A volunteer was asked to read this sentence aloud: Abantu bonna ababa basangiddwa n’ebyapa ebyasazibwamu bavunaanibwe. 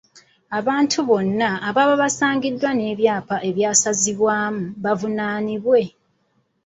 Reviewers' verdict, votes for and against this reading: accepted, 2, 0